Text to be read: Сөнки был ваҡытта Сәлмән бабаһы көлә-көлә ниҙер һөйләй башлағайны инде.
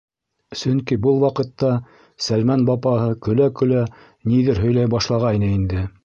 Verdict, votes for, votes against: rejected, 1, 2